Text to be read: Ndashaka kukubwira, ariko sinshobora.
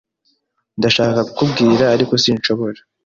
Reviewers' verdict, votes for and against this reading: accepted, 2, 0